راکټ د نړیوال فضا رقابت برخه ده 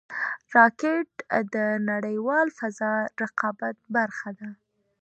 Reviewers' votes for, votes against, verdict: 2, 1, accepted